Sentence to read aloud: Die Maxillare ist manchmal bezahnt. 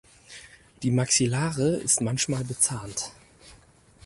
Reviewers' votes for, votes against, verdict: 4, 2, accepted